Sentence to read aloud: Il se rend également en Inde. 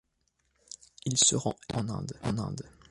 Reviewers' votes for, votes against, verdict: 1, 2, rejected